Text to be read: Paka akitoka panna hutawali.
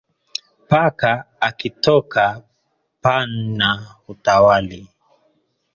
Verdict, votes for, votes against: rejected, 1, 2